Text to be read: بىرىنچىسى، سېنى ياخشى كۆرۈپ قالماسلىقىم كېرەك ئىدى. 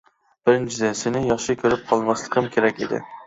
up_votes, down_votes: 1, 2